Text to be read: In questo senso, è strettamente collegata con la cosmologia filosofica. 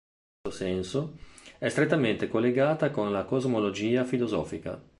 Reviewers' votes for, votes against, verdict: 1, 2, rejected